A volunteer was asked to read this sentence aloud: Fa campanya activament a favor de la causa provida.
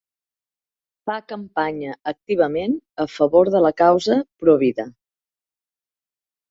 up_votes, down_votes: 3, 0